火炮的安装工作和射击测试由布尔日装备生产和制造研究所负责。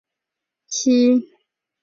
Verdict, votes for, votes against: rejected, 1, 5